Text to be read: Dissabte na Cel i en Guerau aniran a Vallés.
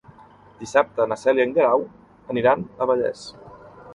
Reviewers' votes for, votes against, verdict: 3, 0, accepted